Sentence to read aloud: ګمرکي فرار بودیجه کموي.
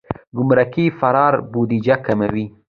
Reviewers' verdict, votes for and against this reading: accepted, 2, 1